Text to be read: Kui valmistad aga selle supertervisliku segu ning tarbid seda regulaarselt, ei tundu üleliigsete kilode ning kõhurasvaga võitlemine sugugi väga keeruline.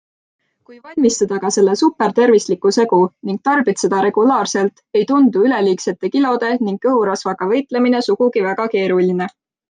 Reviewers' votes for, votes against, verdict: 3, 0, accepted